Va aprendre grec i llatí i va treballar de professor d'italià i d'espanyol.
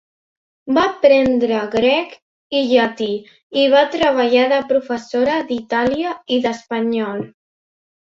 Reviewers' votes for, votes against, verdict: 0, 2, rejected